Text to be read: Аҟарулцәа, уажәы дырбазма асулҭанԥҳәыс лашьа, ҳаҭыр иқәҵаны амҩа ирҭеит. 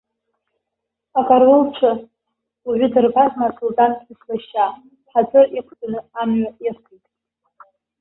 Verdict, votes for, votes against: rejected, 1, 2